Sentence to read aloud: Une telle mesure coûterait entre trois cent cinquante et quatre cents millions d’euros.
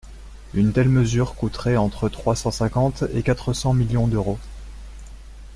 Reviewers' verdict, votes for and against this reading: accepted, 2, 0